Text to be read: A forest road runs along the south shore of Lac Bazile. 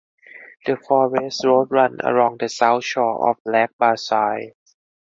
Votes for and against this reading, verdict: 0, 4, rejected